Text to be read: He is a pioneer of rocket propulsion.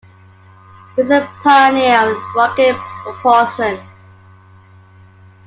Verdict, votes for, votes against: accepted, 2, 1